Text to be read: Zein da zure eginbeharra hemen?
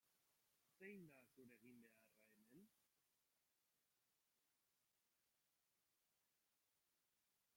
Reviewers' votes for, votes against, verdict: 0, 2, rejected